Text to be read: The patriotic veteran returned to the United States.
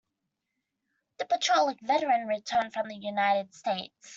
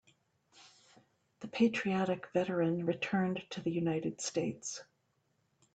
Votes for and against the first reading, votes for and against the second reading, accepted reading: 0, 3, 2, 0, second